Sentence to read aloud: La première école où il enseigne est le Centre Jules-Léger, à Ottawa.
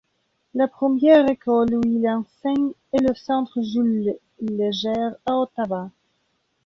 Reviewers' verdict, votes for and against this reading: rejected, 0, 2